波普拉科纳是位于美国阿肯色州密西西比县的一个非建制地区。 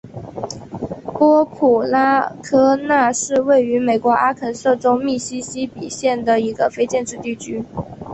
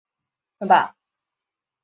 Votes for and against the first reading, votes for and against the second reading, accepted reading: 2, 0, 0, 3, first